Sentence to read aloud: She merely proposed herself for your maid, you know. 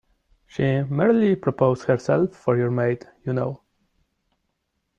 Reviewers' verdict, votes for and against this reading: accepted, 2, 0